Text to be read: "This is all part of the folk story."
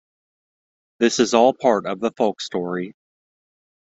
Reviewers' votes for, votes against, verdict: 2, 0, accepted